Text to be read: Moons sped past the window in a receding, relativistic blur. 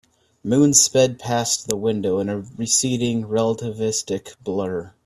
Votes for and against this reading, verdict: 2, 0, accepted